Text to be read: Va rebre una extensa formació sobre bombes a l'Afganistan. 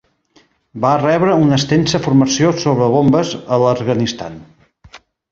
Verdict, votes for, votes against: rejected, 1, 2